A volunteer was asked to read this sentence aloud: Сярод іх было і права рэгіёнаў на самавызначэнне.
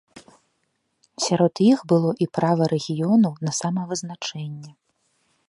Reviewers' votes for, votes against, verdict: 2, 0, accepted